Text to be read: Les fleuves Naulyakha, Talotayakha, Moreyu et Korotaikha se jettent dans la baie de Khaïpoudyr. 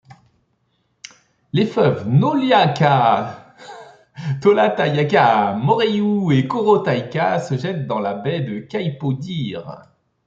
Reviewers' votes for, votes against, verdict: 1, 2, rejected